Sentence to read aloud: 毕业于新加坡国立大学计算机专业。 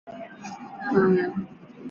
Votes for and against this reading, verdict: 0, 3, rejected